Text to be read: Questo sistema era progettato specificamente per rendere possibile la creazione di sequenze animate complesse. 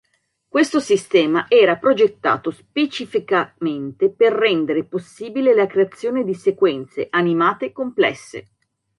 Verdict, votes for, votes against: accepted, 2, 0